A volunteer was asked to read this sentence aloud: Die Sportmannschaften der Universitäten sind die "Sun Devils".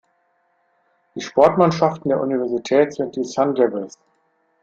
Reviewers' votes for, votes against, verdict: 0, 2, rejected